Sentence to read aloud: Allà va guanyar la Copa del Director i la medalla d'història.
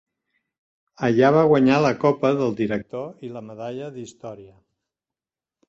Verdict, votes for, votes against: accepted, 3, 0